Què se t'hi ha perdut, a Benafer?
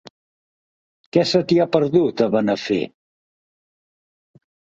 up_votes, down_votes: 2, 0